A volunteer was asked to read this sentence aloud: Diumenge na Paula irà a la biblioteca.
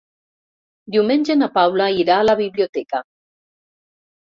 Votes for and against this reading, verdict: 3, 0, accepted